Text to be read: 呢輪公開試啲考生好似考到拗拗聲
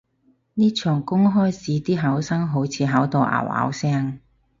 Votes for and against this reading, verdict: 0, 6, rejected